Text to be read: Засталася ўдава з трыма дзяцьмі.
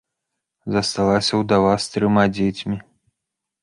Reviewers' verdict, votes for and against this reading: rejected, 1, 2